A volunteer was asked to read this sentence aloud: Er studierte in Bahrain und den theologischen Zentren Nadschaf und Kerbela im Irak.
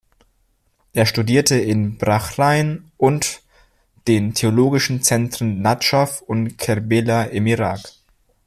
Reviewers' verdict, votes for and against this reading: rejected, 1, 2